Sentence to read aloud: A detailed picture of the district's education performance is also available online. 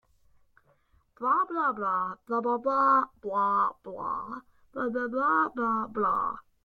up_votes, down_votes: 0, 2